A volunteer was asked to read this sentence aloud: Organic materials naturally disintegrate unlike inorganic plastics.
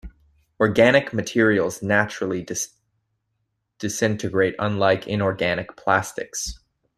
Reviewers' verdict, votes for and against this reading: rejected, 0, 2